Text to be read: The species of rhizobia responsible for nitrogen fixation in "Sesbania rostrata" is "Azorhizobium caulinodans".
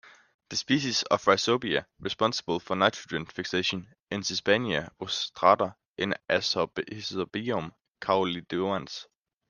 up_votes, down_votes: 2, 0